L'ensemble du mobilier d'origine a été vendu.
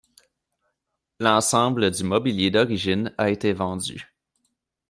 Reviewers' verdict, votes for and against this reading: accepted, 2, 0